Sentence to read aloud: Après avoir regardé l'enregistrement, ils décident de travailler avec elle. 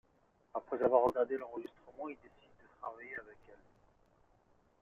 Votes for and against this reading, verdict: 1, 2, rejected